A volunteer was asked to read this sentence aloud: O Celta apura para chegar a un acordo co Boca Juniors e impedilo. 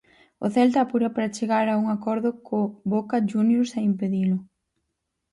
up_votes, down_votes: 4, 0